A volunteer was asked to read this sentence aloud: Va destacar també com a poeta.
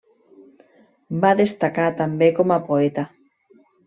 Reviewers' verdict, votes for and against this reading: accepted, 3, 0